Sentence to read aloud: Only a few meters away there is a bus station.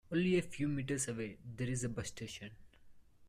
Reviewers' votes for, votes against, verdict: 2, 0, accepted